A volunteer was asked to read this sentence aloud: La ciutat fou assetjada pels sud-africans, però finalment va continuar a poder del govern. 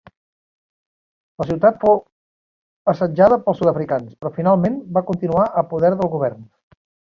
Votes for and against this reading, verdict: 1, 3, rejected